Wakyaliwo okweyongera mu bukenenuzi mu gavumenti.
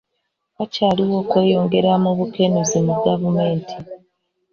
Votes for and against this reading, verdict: 1, 2, rejected